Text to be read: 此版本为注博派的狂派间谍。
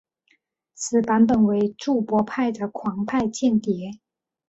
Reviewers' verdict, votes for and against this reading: accepted, 3, 0